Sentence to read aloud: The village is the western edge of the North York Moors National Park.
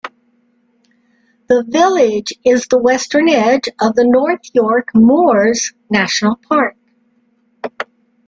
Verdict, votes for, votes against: accepted, 2, 0